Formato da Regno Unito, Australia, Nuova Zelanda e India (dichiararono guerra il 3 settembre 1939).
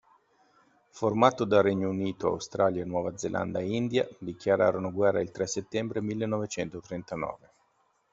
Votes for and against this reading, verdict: 0, 2, rejected